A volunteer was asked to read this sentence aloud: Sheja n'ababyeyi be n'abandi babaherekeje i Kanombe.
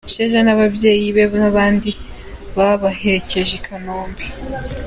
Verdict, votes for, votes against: accepted, 2, 0